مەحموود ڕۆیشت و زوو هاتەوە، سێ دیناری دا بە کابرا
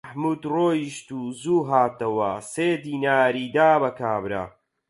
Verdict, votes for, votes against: rejected, 0, 4